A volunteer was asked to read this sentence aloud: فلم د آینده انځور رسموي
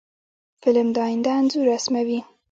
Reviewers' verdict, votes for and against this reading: rejected, 1, 2